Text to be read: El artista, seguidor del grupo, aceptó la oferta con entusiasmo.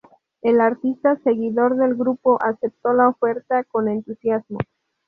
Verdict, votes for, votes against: accepted, 4, 0